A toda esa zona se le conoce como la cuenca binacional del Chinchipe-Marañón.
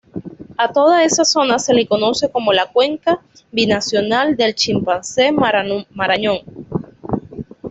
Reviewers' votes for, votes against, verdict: 1, 2, rejected